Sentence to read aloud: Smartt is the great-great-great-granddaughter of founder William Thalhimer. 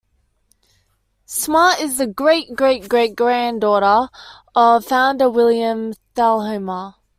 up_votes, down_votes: 2, 0